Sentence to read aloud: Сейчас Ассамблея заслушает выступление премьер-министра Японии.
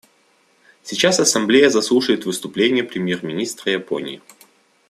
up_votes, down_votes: 2, 0